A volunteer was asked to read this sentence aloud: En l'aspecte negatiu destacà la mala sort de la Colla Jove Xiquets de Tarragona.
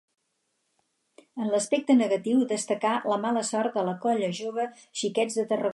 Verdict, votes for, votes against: rejected, 0, 4